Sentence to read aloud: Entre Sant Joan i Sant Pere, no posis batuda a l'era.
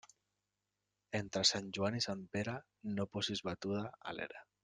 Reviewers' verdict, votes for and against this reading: accepted, 2, 0